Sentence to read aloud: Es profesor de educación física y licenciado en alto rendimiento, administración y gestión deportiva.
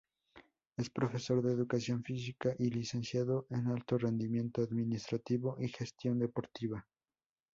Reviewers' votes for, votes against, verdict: 0, 2, rejected